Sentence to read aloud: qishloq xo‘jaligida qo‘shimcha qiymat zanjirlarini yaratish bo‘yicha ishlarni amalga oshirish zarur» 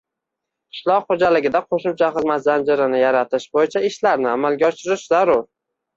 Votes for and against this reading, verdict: 1, 2, rejected